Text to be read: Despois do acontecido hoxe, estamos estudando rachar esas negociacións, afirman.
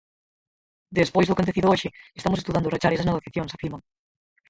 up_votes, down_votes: 0, 4